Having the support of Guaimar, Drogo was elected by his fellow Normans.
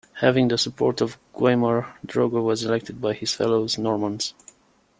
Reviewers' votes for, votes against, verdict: 1, 2, rejected